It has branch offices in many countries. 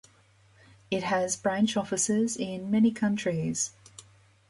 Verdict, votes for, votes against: accepted, 2, 0